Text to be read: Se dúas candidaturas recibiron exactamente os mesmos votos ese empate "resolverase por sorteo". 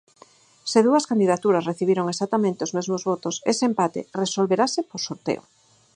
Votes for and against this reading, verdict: 4, 0, accepted